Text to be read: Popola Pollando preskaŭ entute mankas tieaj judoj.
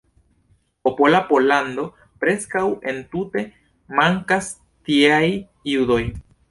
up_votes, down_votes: 2, 0